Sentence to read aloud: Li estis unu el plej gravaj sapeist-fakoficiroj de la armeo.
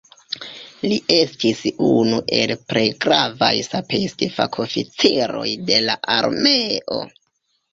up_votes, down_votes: 0, 2